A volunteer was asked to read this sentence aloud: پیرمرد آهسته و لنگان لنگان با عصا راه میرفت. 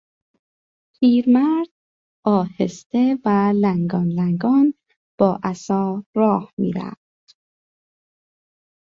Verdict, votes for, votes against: accepted, 2, 0